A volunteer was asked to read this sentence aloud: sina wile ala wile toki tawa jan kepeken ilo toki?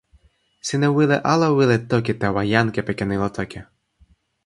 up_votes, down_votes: 2, 0